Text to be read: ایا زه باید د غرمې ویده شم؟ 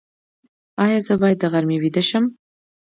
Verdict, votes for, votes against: accepted, 2, 0